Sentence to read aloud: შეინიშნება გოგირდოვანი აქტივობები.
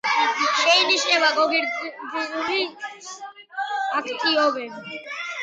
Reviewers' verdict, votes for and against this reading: rejected, 0, 2